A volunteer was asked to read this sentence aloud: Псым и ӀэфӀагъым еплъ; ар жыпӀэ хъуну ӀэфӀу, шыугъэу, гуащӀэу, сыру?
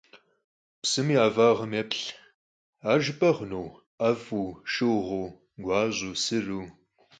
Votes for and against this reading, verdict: 4, 0, accepted